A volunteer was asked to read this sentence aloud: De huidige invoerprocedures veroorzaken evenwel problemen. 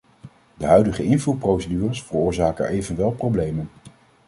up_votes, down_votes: 2, 0